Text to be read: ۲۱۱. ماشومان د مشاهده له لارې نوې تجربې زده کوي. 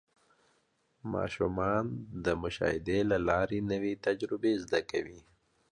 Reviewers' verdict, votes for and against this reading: rejected, 0, 2